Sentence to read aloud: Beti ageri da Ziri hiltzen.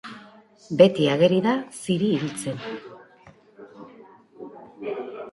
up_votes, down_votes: 2, 1